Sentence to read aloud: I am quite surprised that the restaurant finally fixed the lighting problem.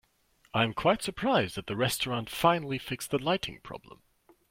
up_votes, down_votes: 2, 0